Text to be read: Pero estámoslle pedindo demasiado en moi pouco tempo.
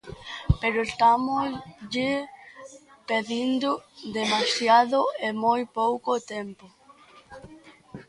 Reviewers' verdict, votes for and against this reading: rejected, 1, 2